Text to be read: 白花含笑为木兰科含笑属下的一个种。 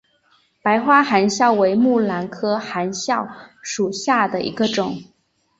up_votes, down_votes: 2, 0